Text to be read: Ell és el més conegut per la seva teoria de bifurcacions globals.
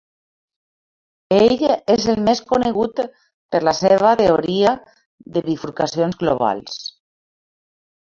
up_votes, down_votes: 0, 2